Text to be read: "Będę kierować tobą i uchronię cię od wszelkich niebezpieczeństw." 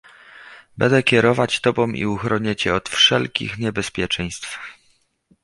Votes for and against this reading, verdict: 1, 2, rejected